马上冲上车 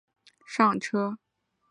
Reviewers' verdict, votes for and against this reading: rejected, 0, 4